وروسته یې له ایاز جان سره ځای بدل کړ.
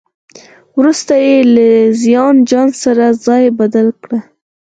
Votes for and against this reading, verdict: 2, 4, rejected